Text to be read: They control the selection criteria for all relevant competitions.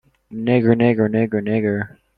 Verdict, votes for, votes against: rejected, 0, 2